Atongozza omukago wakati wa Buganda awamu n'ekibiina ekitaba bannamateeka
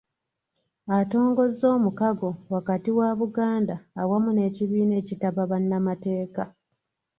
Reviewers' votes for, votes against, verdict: 2, 0, accepted